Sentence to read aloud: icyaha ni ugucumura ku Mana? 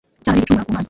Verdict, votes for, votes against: rejected, 1, 2